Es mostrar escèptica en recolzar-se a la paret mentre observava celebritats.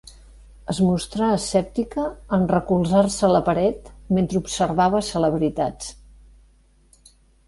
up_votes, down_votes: 2, 0